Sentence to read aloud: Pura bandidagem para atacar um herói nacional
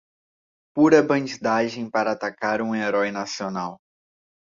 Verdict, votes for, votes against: accepted, 2, 0